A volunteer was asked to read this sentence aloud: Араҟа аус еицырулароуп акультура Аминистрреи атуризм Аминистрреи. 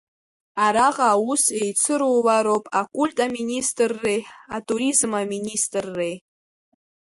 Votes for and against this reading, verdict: 1, 2, rejected